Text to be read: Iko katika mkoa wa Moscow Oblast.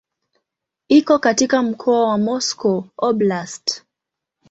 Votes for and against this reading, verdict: 2, 0, accepted